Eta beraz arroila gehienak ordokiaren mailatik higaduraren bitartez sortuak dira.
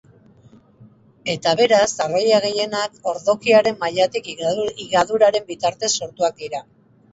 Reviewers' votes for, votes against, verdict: 2, 2, rejected